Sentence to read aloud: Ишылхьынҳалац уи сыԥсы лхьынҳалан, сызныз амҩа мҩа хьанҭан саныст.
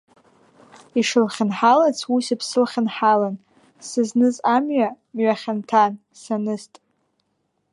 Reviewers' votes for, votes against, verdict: 0, 2, rejected